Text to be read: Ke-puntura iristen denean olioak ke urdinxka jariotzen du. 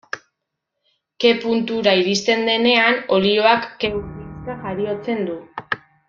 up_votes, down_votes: 0, 2